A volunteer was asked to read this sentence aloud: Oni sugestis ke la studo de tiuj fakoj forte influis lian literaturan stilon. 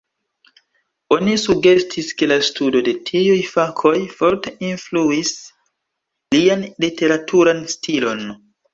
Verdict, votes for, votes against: accepted, 2, 1